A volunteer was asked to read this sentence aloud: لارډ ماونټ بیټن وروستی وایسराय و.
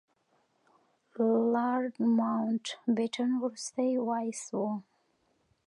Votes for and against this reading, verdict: 2, 0, accepted